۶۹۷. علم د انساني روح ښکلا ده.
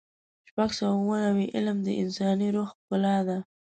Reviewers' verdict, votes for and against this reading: rejected, 0, 2